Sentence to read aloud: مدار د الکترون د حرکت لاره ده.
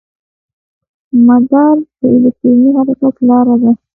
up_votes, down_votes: 1, 2